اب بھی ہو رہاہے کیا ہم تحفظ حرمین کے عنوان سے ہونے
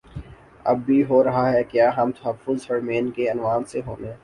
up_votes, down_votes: 4, 0